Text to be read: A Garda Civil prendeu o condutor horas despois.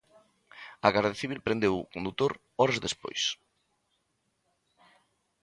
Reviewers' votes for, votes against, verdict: 2, 0, accepted